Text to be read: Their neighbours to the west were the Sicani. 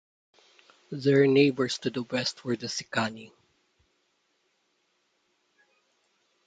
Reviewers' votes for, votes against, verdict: 2, 0, accepted